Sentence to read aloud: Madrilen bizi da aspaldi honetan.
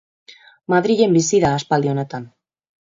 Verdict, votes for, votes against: accepted, 2, 0